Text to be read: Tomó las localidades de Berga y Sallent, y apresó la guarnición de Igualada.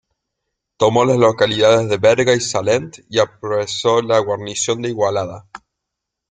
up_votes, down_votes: 0, 2